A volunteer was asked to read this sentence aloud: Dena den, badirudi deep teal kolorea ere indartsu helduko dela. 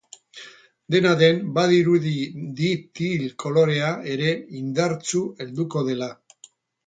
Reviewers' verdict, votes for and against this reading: accepted, 8, 0